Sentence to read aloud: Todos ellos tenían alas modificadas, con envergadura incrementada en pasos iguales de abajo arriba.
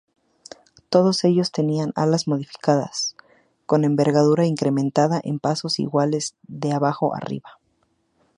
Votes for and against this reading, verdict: 2, 0, accepted